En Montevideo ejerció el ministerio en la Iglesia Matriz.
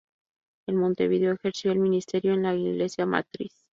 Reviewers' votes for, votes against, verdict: 2, 0, accepted